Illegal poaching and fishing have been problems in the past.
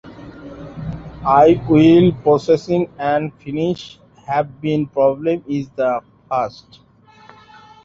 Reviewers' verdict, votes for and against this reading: rejected, 0, 2